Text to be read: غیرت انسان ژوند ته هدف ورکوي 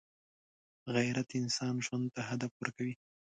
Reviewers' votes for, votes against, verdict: 2, 0, accepted